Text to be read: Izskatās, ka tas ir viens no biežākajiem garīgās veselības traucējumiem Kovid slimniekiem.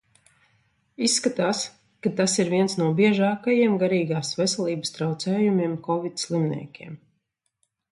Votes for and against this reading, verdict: 3, 0, accepted